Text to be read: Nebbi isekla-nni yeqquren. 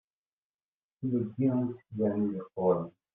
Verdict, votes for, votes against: rejected, 1, 2